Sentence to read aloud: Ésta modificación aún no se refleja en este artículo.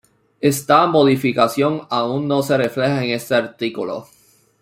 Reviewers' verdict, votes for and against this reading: rejected, 0, 2